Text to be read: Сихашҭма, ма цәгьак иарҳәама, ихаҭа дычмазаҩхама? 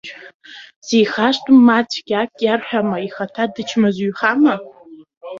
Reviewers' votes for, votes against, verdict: 3, 1, accepted